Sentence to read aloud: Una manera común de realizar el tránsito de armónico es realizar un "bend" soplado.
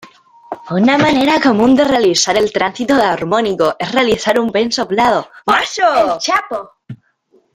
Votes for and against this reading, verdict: 0, 2, rejected